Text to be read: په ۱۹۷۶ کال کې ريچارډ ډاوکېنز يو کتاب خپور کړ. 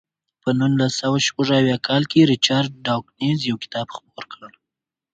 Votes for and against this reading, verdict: 0, 2, rejected